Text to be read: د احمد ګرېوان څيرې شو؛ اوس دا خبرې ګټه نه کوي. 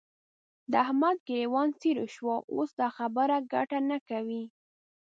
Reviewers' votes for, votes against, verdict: 2, 3, rejected